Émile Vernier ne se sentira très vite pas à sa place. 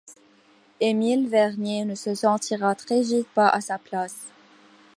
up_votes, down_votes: 2, 1